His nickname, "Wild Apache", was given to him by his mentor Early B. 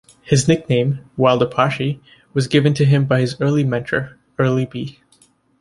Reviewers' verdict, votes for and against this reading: rejected, 1, 2